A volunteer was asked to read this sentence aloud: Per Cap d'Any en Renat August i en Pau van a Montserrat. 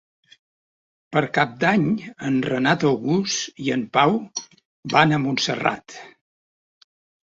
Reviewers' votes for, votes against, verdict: 2, 0, accepted